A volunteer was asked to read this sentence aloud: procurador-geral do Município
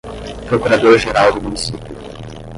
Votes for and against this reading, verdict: 5, 10, rejected